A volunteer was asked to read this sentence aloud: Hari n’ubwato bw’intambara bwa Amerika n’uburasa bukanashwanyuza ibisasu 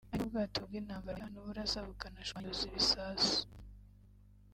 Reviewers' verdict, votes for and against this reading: rejected, 0, 3